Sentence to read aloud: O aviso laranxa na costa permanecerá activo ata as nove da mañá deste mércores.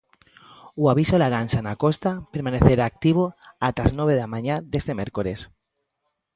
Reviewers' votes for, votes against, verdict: 2, 0, accepted